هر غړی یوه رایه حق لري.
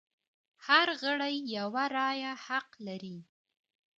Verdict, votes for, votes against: accepted, 2, 1